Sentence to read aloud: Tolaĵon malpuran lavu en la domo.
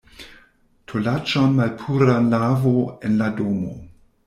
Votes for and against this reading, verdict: 0, 2, rejected